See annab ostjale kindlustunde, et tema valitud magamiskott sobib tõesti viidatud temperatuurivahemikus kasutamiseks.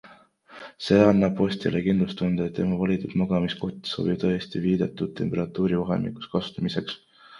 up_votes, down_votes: 2, 0